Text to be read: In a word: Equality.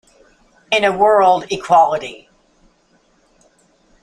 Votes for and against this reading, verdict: 1, 2, rejected